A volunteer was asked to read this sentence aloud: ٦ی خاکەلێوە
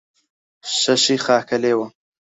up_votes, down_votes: 0, 2